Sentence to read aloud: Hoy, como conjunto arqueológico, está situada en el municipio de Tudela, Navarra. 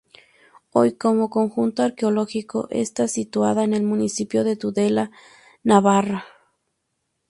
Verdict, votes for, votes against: accepted, 2, 0